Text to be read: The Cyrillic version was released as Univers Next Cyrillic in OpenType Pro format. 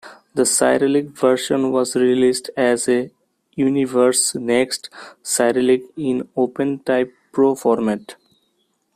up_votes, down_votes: 1, 2